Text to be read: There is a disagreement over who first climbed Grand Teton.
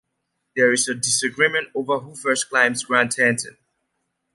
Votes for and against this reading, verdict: 1, 2, rejected